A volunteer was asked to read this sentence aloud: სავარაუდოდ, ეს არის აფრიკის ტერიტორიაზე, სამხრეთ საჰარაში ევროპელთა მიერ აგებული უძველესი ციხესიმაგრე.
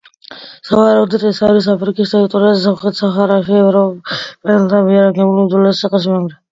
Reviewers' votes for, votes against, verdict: 2, 0, accepted